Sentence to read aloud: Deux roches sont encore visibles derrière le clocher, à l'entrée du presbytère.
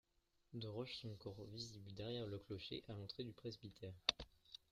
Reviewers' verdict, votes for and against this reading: accepted, 2, 1